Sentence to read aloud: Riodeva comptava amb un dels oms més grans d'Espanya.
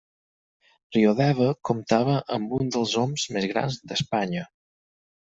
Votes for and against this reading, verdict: 4, 0, accepted